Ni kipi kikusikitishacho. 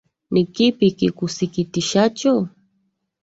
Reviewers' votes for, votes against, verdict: 3, 0, accepted